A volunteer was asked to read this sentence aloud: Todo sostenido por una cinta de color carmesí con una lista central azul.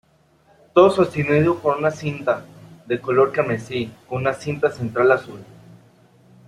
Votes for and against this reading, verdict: 0, 3, rejected